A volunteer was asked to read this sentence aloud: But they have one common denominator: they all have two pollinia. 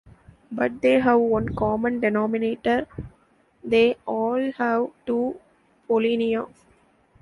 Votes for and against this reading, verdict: 2, 0, accepted